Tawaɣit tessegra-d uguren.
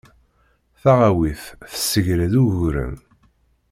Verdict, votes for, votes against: rejected, 1, 2